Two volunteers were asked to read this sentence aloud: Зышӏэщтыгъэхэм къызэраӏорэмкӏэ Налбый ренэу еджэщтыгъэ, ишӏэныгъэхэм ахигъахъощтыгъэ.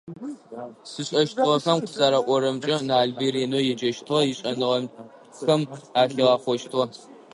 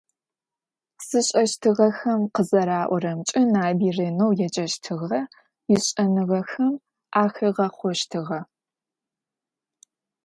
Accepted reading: second